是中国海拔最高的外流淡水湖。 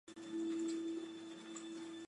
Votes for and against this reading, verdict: 0, 2, rejected